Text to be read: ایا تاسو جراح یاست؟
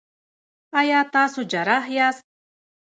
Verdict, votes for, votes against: rejected, 1, 2